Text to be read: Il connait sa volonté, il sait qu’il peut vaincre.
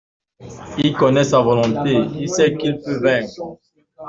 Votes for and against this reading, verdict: 2, 0, accepted